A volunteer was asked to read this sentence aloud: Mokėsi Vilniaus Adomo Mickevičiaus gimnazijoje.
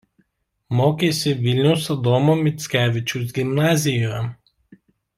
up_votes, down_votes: 0, 2